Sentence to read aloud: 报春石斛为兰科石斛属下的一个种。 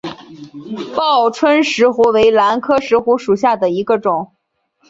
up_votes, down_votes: 1, 2